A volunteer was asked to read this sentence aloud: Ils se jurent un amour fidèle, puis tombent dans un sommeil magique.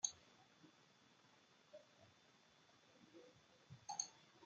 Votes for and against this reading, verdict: 0, 2, rejected